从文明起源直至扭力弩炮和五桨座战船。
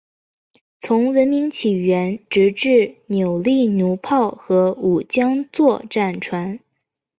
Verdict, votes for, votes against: rejected, 2, 4